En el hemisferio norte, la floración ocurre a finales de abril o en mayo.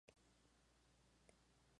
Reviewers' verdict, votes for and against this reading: rejected, 0, 2